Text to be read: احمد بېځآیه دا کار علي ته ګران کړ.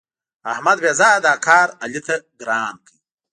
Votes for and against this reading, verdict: 0, 2, rejected